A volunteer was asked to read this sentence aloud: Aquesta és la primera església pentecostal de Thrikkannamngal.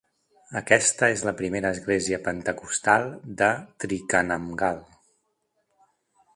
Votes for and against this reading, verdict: 2, 0, accepted